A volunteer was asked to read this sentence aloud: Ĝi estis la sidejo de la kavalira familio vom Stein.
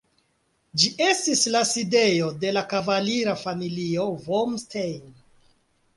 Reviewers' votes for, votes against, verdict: 3, 0, accepted